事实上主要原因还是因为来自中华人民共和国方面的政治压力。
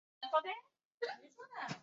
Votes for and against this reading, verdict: 0, 2, rejected